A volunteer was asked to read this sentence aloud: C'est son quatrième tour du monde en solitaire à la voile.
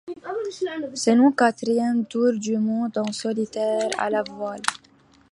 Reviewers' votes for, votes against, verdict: 0, 2, rejected